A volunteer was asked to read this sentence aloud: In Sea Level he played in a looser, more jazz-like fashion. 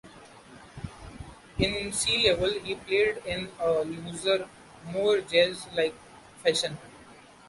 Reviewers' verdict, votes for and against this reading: accepted, 2, 0